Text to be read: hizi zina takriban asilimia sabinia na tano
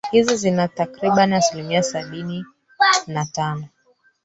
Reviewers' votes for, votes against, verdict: 1, 3, rejected